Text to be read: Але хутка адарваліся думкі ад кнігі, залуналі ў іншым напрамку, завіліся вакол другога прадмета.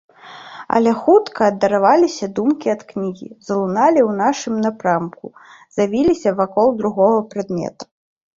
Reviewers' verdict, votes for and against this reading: rejected, 1, 2